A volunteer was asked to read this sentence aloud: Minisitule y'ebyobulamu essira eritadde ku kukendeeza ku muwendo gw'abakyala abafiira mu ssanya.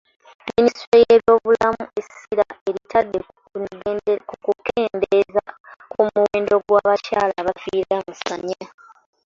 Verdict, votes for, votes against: rejected, 0, 2